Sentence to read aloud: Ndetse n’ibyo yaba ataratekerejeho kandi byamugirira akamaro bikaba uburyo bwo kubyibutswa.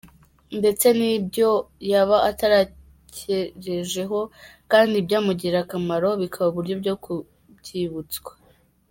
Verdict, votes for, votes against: rejected, 0, 2